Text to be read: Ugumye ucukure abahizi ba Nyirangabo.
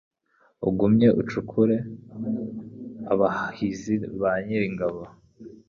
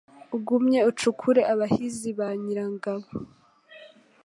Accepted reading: second